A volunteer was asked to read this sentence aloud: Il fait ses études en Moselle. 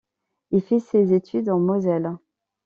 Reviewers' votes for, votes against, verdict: 2, 0, accepted